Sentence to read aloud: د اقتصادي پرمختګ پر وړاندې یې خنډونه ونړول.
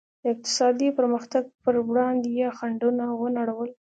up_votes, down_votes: 2, 0